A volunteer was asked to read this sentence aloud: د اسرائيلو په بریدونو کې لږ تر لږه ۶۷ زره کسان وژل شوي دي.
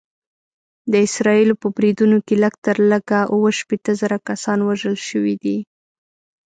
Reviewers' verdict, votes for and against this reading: rejected, 0, 2